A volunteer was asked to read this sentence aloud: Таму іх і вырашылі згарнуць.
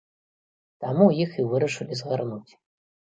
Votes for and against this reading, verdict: 2, 0, accepted